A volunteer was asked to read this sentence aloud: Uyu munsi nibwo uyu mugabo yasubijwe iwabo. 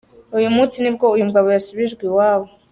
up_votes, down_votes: 2, 0